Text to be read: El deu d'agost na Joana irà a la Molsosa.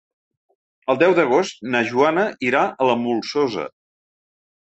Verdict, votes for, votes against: accepted, 3, 0